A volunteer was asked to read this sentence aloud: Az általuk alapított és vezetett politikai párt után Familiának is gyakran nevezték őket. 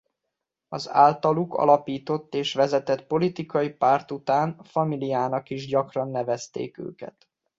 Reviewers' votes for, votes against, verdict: 1, 2, rejected